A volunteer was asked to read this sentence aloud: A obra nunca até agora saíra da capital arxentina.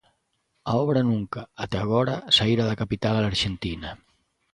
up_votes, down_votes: 2, 0